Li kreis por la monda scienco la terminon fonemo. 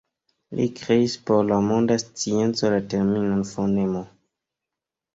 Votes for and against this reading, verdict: 2, 0, accepted